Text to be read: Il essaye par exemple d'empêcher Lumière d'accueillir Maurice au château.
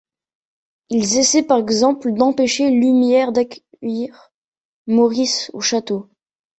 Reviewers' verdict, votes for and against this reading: rejected, 0, 2